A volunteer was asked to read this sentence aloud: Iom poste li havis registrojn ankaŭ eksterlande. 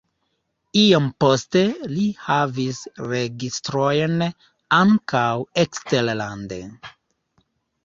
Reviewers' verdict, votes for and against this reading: rejected, 0, 2